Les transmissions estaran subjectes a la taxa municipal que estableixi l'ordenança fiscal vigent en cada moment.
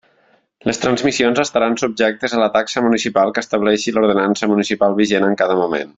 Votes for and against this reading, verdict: 1, 2, rejected